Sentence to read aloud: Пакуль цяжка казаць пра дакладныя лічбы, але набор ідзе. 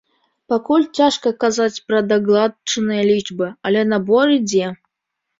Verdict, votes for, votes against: rejected, 1, 2